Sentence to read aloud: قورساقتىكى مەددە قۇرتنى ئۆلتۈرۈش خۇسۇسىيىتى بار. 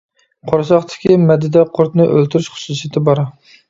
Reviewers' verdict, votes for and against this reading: rejected, 1, 2